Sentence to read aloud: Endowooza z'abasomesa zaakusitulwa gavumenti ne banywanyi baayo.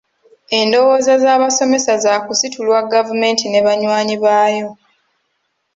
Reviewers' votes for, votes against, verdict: 3, 0, accepted